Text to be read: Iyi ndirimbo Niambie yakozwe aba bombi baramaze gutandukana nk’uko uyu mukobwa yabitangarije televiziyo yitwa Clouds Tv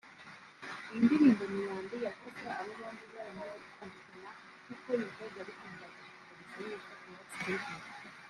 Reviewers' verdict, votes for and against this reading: rejected, 1, 2